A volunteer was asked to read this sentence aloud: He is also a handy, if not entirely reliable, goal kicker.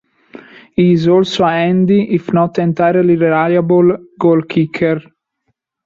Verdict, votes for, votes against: accepted, 2, 1